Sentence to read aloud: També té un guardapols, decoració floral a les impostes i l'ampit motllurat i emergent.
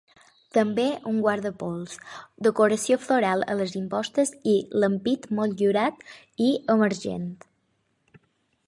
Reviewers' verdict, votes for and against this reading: rejected, 3, 6